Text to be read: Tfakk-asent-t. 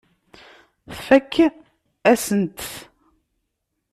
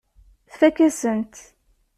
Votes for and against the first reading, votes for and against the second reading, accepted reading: 1, 2, 2, 1, second